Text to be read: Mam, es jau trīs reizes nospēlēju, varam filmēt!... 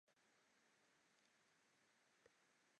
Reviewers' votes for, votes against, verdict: 0, 2, rejected